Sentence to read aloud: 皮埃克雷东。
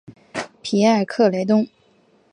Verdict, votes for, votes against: accepted, 2, 0